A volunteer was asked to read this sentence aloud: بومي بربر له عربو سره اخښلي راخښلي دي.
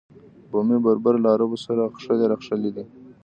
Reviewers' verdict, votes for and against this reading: accepted, 4, 0